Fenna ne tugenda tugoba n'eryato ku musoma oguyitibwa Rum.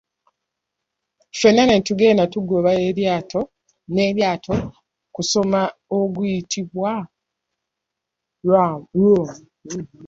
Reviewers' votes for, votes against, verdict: 0, 2, rejected